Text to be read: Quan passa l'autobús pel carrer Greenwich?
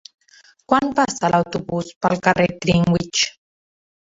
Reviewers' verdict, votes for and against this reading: rejected, 0, 2